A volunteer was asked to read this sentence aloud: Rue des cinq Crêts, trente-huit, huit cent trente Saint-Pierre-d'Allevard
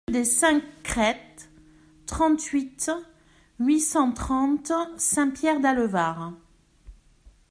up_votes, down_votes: 1, 2